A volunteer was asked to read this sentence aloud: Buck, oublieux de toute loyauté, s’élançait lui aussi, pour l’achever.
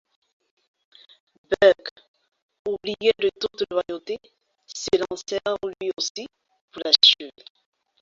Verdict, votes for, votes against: rejected, 1, 2